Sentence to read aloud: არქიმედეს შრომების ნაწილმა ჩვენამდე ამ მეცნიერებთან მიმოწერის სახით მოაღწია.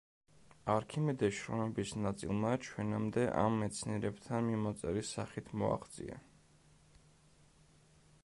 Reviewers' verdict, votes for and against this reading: rejected, 1, 2